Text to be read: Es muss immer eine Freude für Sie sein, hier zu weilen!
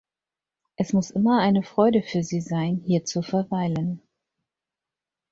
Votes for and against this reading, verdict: 0, 6, rejected